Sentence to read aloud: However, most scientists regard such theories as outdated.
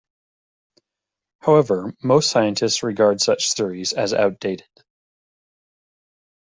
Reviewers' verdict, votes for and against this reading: accepted, 2, 1